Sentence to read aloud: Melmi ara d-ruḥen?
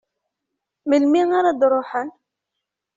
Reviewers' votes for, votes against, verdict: 2, 0, accepted